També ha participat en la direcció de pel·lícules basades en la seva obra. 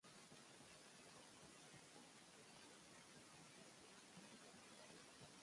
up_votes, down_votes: 1, 2